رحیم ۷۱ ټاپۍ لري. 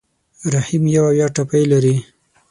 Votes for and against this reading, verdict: 0, 2, rejected